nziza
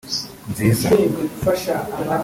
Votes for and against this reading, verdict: 2, 3, rejected